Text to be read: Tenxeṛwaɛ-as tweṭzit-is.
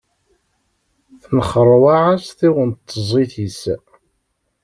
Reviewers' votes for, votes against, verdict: 0, 2, rejected